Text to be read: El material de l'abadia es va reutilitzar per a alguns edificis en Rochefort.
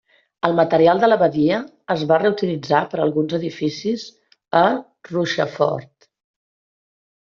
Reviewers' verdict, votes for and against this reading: rejected, 1, 2